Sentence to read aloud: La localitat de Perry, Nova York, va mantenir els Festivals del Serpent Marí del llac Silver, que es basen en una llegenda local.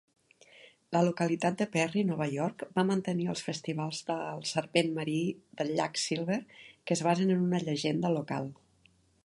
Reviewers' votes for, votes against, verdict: 4, 0, accepted